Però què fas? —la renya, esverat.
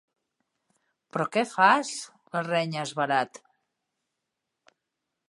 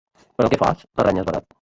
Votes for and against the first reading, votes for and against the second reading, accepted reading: 3, 0, 1, 2, first